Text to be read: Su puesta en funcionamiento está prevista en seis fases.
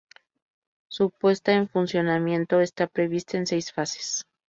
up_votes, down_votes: 2, 0